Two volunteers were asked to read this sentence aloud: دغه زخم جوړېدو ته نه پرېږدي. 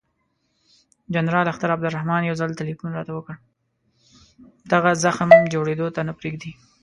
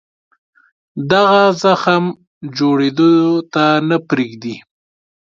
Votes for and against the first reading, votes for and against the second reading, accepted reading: 0, 2, 2, 0, second